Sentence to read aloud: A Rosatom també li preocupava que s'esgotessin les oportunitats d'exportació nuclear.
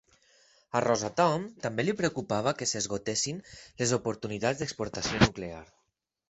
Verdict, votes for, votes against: accepted, 4, 0